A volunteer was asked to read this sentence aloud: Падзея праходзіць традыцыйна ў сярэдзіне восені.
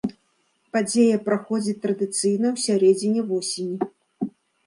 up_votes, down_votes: 3, 0